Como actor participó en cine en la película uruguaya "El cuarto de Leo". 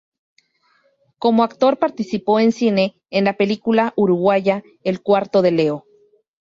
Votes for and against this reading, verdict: 4, 0, accepted